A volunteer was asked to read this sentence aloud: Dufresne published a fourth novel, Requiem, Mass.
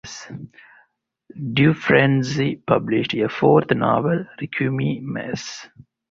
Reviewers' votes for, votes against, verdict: 2, 0, accepted